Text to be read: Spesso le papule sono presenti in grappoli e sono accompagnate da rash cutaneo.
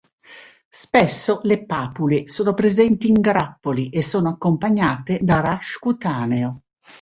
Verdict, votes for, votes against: accepted, 2, 0